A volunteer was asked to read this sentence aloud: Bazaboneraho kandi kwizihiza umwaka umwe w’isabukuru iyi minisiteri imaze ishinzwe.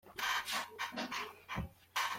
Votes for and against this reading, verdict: 0, 2, rejected